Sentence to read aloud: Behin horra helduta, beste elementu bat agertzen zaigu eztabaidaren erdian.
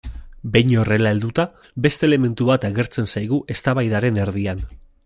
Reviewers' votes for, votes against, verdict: 0, 2, rejected